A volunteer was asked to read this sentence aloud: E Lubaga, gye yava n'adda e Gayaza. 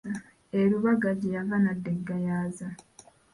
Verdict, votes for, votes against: rejected, 1, 2